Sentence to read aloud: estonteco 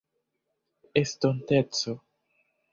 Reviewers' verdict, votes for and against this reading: accepted, 2, 0